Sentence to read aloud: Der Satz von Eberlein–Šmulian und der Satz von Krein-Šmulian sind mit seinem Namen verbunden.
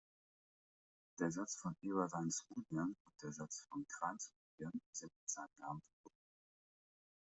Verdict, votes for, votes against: accepted, 2, 0